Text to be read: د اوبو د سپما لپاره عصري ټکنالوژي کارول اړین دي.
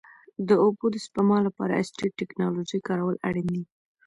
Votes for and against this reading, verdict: 1, 2, rejected